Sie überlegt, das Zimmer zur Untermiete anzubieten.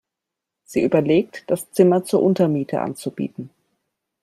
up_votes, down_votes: 2, 0